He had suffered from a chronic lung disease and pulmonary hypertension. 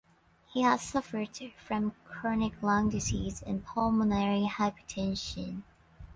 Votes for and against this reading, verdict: 1, 2, rejected